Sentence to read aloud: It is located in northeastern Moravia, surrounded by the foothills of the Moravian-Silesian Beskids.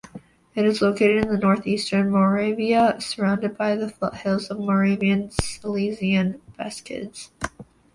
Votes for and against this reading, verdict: 2, 1, accepted